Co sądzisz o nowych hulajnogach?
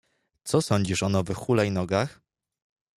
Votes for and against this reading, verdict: 2, 0, accepted